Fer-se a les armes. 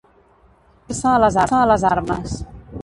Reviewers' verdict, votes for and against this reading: rejected, 0, 2